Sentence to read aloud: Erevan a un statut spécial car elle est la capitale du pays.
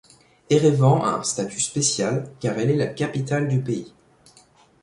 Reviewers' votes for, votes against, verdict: 1, 2, rejected